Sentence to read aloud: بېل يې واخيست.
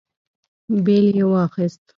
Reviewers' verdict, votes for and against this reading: accepted, 2, 0